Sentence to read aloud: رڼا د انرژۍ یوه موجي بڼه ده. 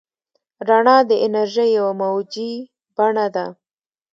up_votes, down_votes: 2, 0